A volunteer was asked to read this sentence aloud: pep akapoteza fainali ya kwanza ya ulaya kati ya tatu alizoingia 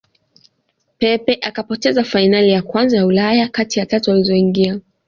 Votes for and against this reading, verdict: 2, 0, accepted